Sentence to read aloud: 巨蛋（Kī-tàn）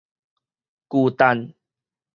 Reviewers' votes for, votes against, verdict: 4, 0, accepted